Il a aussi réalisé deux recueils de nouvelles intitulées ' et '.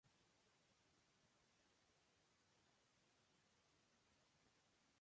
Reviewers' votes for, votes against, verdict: 0, 2, rejected